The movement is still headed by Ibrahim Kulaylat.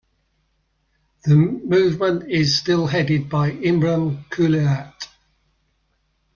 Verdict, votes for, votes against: rejected, 0, 2